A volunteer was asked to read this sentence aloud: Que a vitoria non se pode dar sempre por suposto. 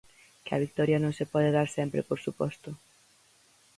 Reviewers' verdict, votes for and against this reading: accepted, 4, 0